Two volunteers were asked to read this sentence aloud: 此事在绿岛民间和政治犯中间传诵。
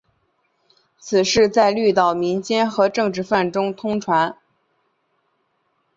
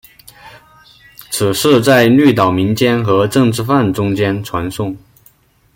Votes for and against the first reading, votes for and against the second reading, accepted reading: 0, 2, 2, 0, second